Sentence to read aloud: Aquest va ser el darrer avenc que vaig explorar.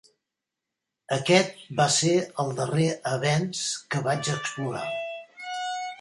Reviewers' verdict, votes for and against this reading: rejected, 1, 2